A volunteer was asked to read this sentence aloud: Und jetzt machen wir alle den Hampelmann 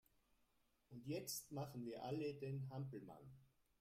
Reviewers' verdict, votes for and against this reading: rejected, 1, 2